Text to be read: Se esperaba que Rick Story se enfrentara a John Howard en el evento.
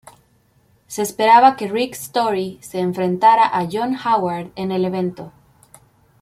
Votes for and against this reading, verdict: 2, 0, accepted